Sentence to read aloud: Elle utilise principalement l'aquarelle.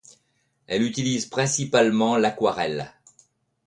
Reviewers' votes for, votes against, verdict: 2, 0, accepted